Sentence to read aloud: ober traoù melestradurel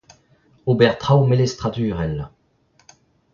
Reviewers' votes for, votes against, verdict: 2, 0, accepted